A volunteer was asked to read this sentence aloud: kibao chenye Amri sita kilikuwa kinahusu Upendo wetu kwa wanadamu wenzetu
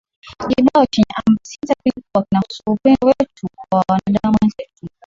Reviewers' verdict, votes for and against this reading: rejected, 0, 2